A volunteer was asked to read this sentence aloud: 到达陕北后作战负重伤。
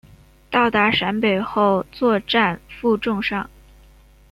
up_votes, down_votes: 0, 2